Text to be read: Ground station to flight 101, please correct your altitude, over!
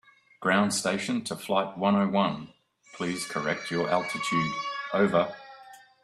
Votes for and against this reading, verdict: 0, 2, rejected